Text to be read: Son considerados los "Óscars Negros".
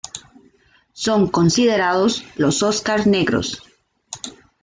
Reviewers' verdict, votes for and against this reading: accepted, 2, 0